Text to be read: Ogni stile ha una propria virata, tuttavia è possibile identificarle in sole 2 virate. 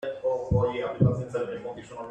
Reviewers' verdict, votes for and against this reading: rejected, 0, 2